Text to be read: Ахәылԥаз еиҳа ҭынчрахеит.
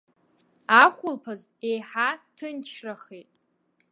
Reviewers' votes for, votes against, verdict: 2, 1, accepted